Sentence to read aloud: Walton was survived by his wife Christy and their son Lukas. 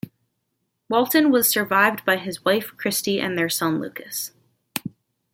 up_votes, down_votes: 1, 2